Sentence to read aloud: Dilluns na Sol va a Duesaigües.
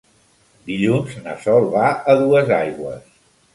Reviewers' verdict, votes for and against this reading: accepted, 3, 0